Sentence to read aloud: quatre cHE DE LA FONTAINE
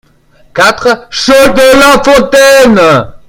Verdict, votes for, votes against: rejected, 0, 2